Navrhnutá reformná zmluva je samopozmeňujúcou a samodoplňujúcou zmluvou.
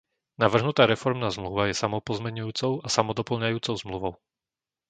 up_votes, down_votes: 0, 2